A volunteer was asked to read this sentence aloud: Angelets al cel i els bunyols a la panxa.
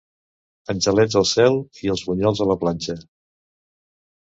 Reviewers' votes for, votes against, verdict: 0, 2, rejected